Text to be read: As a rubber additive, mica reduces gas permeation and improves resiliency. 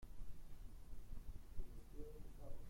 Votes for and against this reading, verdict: 0, 2, rejected